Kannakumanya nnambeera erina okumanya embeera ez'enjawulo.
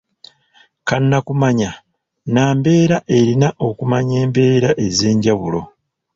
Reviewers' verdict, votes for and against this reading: rejected, 1, 2